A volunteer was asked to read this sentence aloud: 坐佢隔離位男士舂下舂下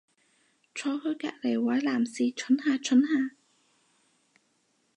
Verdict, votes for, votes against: rejected, 0, 4